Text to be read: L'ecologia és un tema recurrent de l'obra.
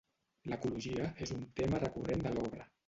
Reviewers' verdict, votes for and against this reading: rejected, 1, 2